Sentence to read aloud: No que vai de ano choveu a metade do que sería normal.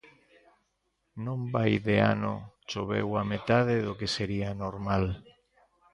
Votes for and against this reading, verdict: 1, 2, rejected